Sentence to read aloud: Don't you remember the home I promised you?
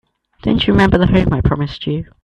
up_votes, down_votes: 1, 2